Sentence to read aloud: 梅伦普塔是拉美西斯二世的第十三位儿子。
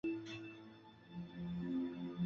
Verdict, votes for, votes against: rejected, 3, 6